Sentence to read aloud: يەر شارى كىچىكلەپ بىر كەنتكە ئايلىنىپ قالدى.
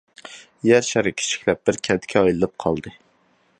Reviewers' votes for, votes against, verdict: 2, 0, accepted